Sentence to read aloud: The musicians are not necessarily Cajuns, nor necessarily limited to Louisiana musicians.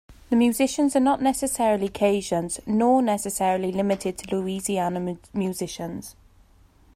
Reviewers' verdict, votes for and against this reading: rejected, 0, 2